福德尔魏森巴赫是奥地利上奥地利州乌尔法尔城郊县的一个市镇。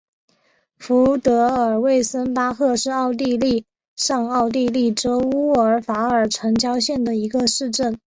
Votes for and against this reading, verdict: 2, 0, accepted